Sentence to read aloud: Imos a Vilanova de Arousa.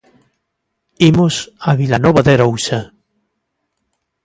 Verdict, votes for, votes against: accepted, 3, 0